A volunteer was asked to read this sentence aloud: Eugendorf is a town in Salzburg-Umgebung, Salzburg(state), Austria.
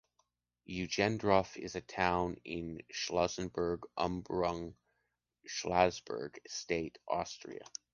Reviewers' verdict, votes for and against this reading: accepted, 2, 0